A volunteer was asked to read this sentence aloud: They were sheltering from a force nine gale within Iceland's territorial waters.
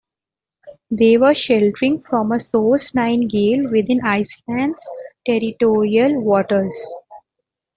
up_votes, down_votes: 2, 0